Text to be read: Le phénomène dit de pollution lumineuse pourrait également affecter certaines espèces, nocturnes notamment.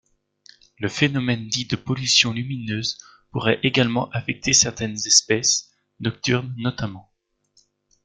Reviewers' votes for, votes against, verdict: 2, 0, accepted